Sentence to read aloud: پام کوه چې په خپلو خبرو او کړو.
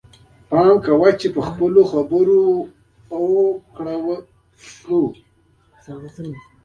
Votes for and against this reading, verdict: 1, 2, rejected